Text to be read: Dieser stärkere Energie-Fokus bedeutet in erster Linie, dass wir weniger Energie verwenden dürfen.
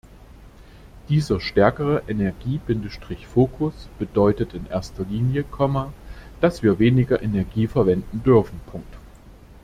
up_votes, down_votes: 1, 2